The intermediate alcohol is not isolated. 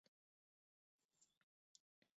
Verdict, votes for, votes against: rejected, 0, 2